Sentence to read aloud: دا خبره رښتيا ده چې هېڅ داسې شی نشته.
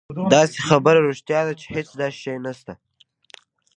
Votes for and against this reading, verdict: 0, 2, rejected